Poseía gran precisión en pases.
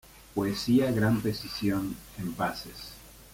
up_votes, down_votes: 0, 2